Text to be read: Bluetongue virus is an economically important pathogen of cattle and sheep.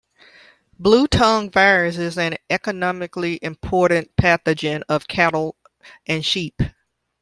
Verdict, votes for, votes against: accepted, 2, 1